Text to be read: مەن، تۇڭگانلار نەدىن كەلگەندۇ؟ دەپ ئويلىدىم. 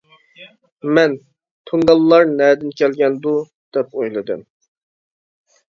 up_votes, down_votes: 2, 0